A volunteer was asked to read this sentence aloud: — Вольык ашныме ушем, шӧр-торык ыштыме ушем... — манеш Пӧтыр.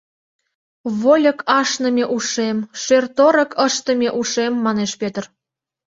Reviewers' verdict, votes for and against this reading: accepted, 2, 0